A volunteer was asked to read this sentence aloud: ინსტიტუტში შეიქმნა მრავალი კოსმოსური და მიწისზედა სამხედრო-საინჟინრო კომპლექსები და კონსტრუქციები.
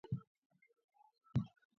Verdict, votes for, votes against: rejected, 0, 2